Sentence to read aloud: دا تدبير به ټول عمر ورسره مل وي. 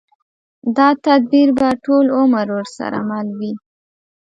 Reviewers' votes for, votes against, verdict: 2, 1, accepted